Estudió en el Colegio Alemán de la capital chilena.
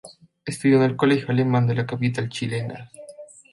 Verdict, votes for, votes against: rejected, 1, 2